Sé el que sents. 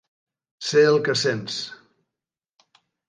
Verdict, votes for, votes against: accepted, 3, 0